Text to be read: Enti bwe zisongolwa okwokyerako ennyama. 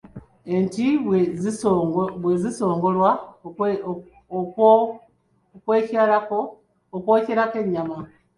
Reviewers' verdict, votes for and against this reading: accepted, 2, 1